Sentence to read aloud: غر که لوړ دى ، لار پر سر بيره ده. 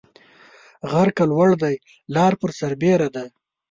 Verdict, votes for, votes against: accepted, 2, 0